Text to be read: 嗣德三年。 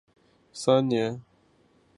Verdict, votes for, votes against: rejected, 0, 2